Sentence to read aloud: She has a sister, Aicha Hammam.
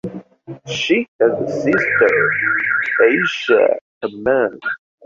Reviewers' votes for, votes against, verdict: 1, 2, rejected